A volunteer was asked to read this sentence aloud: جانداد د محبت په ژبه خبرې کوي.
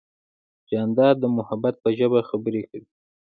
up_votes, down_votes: 1, 2